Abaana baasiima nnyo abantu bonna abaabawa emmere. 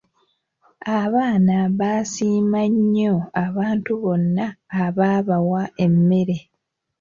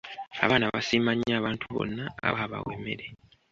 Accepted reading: first